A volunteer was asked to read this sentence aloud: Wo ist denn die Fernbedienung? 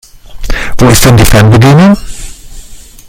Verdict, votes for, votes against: rejected, 1, 2